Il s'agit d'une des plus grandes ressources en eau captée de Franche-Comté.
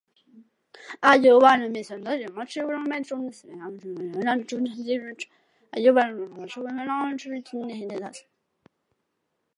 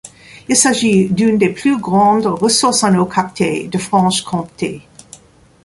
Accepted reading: second